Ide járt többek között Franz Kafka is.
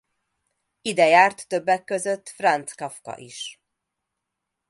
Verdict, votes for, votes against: accepted, 2, 0